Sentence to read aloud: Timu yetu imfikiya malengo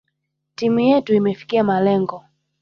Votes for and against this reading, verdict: 2, 1, accepted